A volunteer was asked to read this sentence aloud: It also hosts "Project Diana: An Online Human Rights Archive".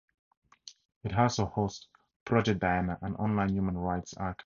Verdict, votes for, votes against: accepted, 4, 0